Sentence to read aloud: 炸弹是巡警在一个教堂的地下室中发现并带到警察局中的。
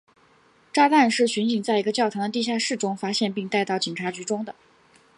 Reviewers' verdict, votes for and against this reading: accepted, 3, 0